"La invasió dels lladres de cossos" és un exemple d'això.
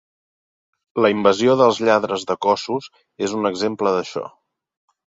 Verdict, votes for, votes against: accepted, 4, 0